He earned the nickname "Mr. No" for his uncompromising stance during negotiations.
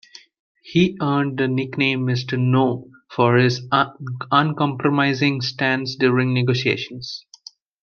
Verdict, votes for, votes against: accepted, 2, 0